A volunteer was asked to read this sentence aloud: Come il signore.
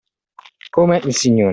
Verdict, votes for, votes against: accepted, 2, 0